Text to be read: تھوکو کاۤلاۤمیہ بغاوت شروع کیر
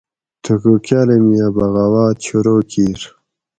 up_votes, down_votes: 4, 0